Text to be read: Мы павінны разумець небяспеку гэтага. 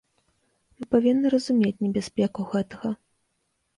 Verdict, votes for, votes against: accepted, 2, 0